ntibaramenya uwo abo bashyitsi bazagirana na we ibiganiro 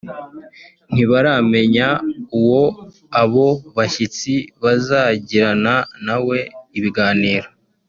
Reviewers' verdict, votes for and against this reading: rejected, 1, 2